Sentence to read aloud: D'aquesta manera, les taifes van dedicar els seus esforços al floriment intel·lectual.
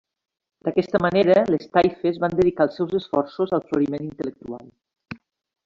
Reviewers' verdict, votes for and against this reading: rejected, 1, 2